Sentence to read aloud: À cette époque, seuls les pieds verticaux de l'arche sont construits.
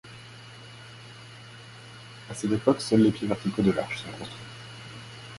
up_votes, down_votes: 0, 2